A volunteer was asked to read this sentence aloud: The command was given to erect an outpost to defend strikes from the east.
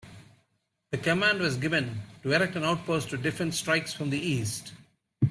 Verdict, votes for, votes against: accepted, 2, 0